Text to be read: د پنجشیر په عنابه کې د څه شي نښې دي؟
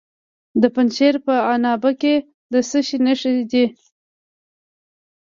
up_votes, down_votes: 2, 0